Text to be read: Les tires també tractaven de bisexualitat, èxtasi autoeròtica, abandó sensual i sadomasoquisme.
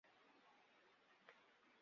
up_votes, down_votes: 0, 2